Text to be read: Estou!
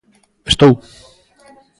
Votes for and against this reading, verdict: 2, 0, accepted